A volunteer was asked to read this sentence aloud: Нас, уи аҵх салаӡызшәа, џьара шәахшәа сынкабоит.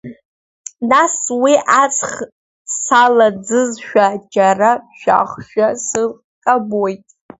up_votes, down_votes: 1, 2